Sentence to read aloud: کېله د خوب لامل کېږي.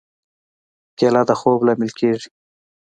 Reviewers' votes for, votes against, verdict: 2, 0, accepted